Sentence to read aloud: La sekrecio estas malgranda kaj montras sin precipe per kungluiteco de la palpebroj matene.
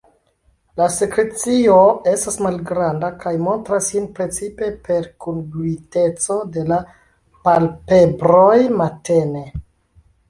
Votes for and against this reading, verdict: 2, 0, accepted